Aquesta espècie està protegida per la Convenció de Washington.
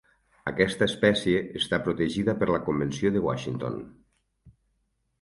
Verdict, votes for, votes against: accepted, 4, 0